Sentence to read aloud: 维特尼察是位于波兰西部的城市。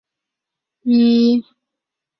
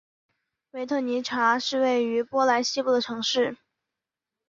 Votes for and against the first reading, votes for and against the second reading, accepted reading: 0, 5, 2, 0, second